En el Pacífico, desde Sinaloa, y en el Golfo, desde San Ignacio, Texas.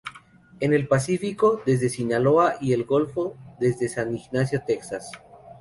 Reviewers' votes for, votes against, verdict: 2, 0, accepted